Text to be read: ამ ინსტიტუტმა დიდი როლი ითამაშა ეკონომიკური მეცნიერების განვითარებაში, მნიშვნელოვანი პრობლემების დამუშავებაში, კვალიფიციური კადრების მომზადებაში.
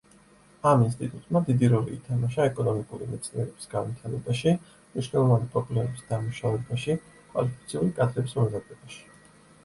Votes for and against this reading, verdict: 2, 0, accepted